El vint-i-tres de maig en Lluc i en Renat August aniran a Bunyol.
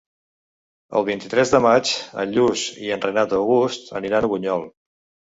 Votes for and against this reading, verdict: 0, 2, rejected